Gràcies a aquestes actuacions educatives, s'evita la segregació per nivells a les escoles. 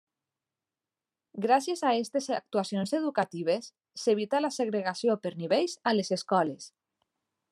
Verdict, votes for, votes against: rejected, 0, 2